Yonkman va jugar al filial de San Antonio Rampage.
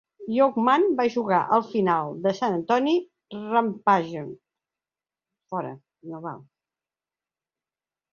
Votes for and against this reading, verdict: 0, 2, rejected